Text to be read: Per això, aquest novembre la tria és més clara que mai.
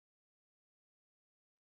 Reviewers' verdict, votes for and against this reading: rejected, 1, 3